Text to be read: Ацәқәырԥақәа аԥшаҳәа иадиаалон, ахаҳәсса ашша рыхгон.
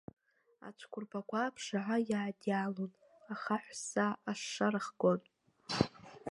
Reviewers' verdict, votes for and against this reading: rejected, 1, 2